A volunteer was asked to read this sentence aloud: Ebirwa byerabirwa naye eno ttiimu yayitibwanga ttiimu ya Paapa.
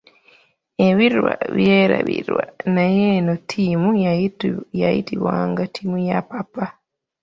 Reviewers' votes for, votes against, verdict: 0, 2, rejected